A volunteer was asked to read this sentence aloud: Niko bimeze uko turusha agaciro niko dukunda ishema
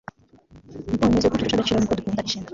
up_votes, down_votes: 0, 2